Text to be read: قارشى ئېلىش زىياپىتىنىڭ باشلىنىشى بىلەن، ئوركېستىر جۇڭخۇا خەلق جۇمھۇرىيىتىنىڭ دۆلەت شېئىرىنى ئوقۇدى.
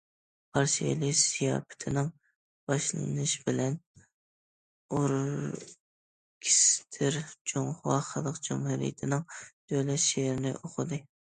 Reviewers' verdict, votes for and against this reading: accepted, 2, 0